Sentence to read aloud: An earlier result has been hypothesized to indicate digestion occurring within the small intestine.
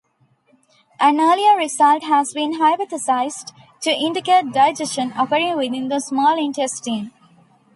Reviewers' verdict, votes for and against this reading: accepted, 2, 1